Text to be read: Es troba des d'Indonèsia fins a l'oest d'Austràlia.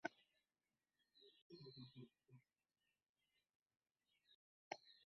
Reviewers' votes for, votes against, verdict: 0, 2, rejected